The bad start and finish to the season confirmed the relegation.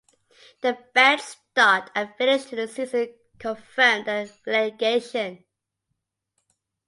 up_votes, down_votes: 2, 0